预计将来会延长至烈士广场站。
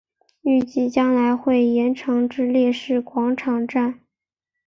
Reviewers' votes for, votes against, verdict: 1, 2, rejected